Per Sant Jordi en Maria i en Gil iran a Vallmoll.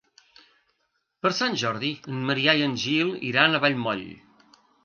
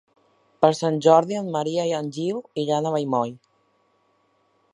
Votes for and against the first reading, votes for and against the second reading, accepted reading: 1, 2, 2, 0, second